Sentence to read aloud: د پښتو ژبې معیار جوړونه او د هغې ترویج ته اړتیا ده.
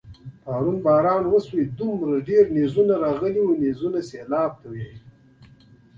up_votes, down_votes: 0, 2